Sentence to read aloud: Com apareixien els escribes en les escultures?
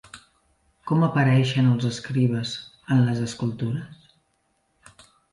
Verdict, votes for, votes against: rejected, 0, 2